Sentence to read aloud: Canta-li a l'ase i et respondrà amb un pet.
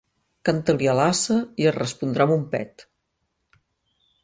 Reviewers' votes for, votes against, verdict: 2, 1, accepted